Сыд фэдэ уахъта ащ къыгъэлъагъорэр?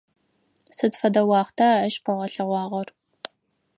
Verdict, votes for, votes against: rejected, 0, 4